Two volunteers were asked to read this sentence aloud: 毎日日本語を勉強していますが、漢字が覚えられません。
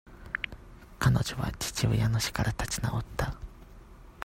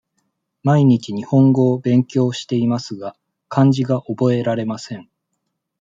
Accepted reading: second